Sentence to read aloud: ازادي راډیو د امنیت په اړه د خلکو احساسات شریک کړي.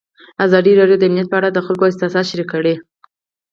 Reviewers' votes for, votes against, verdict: 4, 0, accepted